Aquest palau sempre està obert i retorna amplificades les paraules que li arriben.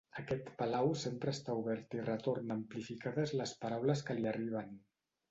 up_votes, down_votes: 0, 2